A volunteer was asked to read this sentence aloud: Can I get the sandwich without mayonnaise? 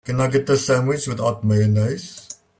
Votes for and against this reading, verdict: 2, 1, accepted